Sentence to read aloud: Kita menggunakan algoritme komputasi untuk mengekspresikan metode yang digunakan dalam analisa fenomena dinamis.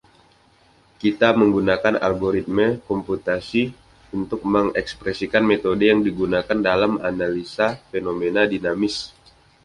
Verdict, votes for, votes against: accepted, 2, 0